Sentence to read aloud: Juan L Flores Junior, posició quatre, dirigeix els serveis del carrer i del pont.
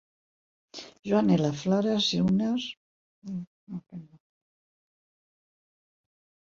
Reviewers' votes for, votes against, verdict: 0, 4, rejected